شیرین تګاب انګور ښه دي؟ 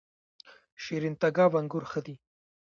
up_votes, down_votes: 0, 2